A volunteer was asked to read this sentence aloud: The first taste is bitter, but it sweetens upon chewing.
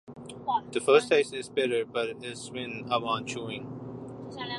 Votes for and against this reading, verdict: 0, 2, rejected